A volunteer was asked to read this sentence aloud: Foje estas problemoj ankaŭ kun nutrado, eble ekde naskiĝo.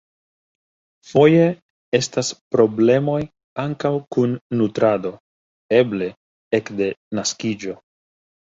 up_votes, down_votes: 2, 0